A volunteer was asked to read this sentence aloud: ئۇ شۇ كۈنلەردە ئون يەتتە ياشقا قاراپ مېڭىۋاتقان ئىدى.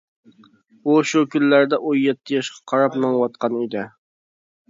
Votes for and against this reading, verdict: 2, 0, accepted